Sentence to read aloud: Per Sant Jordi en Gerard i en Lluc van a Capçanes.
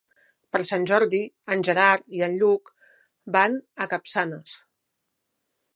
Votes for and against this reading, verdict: 3, 0, accepted